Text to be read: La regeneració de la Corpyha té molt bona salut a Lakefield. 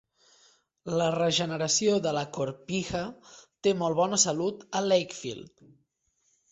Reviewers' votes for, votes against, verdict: 2, 0, accepted